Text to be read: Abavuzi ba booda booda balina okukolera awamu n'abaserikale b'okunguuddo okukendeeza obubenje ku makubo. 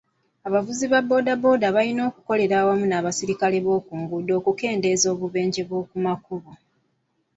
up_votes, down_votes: 1, 2